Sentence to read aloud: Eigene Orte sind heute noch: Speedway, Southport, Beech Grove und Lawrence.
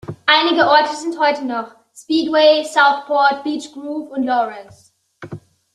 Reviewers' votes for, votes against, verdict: 0, 2, rejected